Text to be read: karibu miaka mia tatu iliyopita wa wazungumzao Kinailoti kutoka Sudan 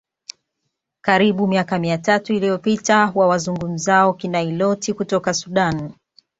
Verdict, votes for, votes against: accepted, 2, 0